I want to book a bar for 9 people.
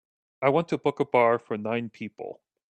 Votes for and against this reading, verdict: 0, 2, rejected